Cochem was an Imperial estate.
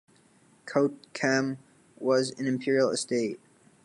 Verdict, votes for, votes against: rejected, 1, 2